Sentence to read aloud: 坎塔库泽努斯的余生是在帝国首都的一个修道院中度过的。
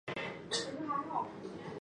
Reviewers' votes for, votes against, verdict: 1, 3, rejected